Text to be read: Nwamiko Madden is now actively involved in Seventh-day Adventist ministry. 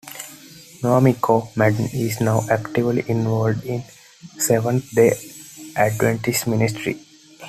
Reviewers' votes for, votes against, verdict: 2, 0, accepted